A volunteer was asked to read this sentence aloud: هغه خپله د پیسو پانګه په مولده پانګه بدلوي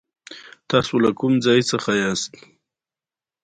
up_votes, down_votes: 2, 0